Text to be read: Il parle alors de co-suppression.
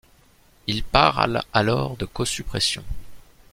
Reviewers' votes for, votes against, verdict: 1, 2, rejected